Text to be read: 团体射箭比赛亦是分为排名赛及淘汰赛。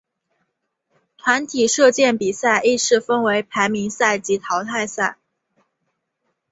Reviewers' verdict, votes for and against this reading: accepted, 2, 1